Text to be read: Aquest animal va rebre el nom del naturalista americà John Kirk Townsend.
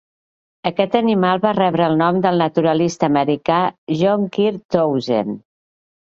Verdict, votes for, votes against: accepted, 2, 0